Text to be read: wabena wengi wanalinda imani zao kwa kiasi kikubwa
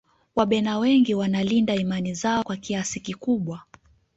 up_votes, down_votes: 2, 0